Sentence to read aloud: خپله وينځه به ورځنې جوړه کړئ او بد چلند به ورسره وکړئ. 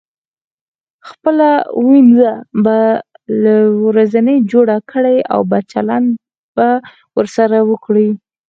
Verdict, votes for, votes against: rejected, 0, 4